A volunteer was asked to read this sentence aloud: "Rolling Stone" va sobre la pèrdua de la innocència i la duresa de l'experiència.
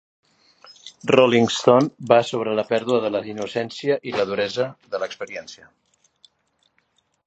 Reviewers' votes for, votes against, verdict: 3, 0, accepted